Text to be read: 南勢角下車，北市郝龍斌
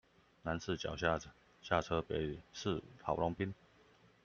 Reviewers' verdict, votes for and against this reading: rejected, 0, 2